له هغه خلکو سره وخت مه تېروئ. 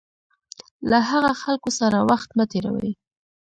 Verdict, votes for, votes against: rejected, 0, 2